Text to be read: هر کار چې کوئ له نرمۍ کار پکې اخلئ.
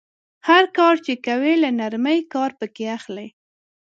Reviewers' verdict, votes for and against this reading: accepted, 2, 0